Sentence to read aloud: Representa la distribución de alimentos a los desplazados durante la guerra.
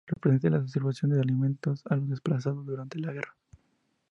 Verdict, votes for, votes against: accepted, 2, 0